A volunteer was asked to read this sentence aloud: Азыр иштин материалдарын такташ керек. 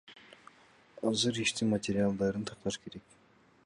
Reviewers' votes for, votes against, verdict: 2, 0, accepted